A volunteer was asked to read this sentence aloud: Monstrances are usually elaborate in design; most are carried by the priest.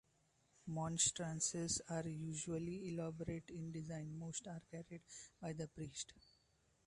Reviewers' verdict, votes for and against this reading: rejected, 1, 2